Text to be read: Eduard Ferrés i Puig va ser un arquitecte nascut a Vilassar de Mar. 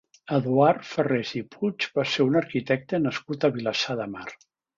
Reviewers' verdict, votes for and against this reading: accepted, 3, 0